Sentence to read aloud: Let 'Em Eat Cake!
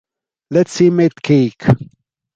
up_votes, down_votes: 2, 0